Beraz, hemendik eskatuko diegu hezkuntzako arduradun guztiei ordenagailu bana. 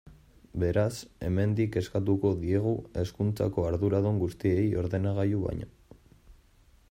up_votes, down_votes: 0, 2